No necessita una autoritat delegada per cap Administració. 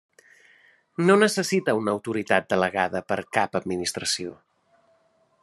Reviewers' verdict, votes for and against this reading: accepted, 3, 0